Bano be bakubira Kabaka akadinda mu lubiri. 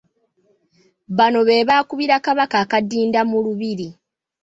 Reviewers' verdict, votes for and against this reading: rejected, 0, 2